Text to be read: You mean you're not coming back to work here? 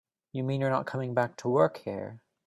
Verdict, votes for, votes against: accepted, 2, 0